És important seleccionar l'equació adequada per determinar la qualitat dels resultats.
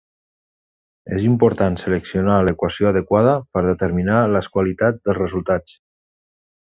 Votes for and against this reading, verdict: 0, 2, rejected